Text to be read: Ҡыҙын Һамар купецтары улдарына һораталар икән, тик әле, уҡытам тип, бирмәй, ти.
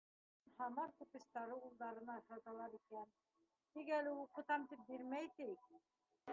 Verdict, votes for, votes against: rejected, 0, 3